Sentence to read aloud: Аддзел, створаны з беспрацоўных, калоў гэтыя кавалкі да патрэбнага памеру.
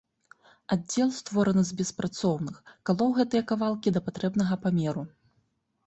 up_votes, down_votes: 3, 0